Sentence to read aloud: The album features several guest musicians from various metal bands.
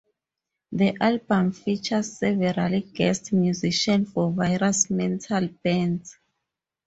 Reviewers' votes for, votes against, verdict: 0, 6, rejected